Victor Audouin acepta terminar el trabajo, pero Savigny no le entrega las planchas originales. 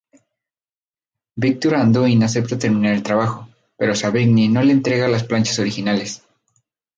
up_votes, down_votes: 0, 2